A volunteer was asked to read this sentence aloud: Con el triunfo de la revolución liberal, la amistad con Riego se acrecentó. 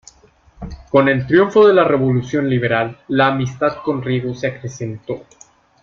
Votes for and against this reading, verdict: 0, 2, rejected